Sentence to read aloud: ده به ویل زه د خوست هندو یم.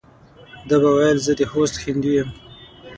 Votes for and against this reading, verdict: 3, 6, rejected